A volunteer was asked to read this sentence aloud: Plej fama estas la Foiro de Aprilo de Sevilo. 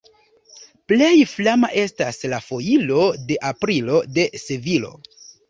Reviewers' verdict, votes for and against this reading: rejected, 2, 3